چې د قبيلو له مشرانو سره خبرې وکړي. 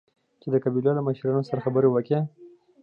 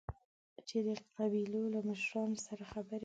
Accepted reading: first